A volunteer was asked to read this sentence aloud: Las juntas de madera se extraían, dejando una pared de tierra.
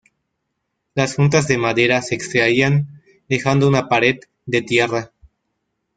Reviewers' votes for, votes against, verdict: 0, 2, rejected